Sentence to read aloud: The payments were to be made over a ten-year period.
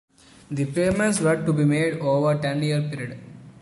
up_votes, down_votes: 0, 2